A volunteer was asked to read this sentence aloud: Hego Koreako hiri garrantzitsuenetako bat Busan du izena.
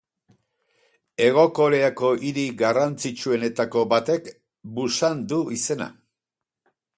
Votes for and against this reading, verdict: 2, 2, rejected